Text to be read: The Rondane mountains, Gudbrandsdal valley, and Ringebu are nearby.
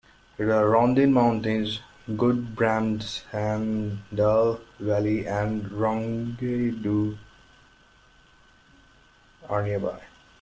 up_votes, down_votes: 0, 2